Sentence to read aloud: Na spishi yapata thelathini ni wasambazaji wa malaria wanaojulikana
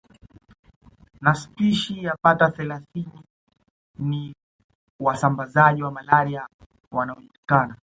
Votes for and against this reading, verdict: 0, 2, rejected